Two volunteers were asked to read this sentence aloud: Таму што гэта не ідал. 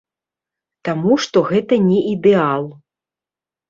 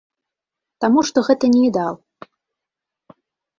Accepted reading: second